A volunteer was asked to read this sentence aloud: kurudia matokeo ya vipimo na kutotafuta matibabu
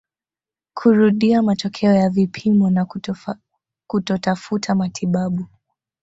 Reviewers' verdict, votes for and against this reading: rejected, 1, 2